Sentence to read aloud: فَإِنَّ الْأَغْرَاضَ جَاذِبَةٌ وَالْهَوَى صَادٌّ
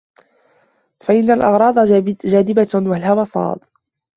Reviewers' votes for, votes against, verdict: 0, 2, rejected